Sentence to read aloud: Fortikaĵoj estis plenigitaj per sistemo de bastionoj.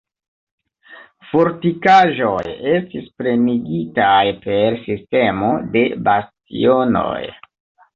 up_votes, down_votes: 2, 0